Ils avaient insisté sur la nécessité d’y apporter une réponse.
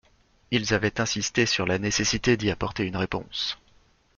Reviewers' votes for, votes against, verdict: 2, 0, accepted